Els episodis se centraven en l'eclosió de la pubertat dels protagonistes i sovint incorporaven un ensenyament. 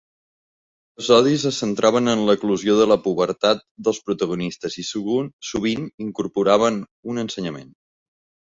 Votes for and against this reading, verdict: 1, 2, rejected